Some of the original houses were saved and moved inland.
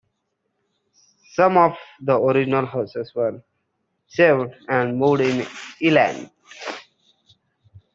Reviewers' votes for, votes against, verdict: 0, 2, rejected